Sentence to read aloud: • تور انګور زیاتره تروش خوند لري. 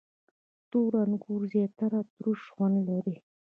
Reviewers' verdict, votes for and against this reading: rejected, 0, 2